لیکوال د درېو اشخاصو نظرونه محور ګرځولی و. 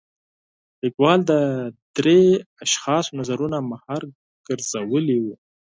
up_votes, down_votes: 4, 6